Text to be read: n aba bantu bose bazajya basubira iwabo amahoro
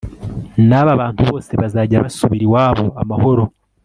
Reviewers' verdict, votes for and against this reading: accepted, 2, 0